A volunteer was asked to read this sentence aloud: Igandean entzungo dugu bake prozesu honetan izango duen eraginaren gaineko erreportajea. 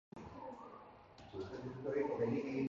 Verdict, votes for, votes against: rejected, 0, 3